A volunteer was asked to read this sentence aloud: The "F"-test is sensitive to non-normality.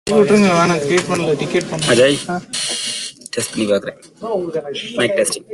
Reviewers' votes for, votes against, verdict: 0, 2, rejected